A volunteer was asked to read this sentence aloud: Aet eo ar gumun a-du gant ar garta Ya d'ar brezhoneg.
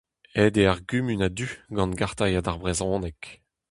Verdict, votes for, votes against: rejected, 0, 2